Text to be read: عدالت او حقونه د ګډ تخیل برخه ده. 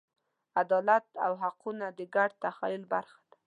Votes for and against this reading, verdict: 2, 0, accepted